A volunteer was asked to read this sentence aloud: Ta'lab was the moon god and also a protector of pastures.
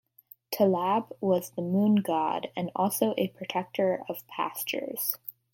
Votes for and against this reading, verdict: 2, 0, accepted